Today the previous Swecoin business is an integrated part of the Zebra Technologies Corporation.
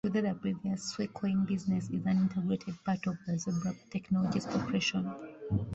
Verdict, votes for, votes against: rejected, 0, 2